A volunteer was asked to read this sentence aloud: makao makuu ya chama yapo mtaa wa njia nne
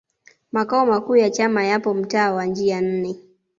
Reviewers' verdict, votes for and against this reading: accepted, 2, 0